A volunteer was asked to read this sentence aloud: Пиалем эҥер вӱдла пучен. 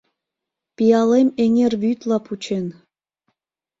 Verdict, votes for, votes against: accepted, 2, 0